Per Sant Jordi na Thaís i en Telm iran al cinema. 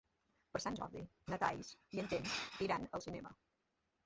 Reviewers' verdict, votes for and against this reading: rejected, 0, 2